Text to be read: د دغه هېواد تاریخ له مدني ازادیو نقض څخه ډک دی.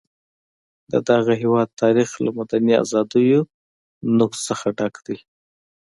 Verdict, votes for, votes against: accepted, 2, 0